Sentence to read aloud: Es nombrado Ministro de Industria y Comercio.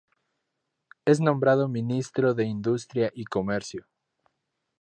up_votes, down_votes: 2, 0